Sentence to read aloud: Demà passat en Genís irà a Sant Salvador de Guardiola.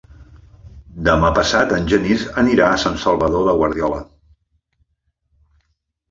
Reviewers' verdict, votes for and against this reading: rejected, 0, 2